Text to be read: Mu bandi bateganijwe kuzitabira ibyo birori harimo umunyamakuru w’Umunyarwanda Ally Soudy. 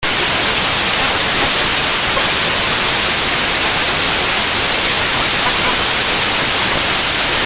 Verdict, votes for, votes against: rejected, 0, 2